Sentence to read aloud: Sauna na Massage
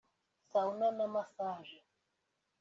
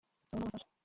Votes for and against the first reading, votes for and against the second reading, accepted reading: 2, 1, 0, 2, first